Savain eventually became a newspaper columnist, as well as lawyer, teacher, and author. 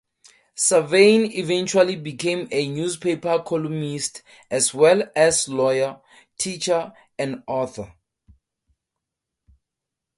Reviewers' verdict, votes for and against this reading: accepted, 2, 0